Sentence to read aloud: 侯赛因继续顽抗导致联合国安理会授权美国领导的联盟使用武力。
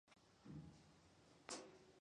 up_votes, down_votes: 0, 3